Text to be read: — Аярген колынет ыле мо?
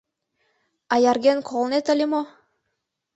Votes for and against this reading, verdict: 2, 0, accepted